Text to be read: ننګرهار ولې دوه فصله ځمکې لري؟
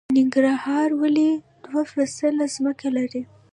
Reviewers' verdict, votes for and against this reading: rejected, 0, 2